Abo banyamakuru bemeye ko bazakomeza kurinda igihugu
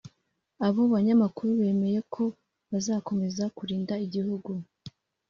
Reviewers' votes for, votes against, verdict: 2, 0, accepted